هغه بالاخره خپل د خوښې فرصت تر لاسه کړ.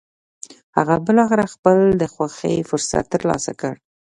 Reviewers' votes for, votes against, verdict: 0, 2, rejected